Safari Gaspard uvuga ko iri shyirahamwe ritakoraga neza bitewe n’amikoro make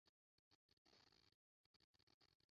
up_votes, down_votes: 0, 2